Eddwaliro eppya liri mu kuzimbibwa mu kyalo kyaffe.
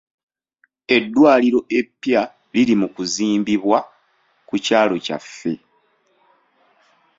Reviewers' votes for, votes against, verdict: 0, 2, rejected